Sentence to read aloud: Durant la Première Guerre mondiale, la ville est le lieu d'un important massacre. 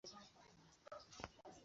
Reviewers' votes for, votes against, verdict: 0, 2, rejected